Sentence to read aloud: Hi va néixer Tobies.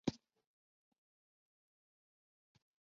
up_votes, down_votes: 0, 2